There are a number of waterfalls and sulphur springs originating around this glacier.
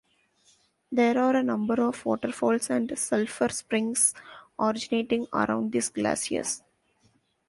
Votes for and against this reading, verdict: 0, 2, rejected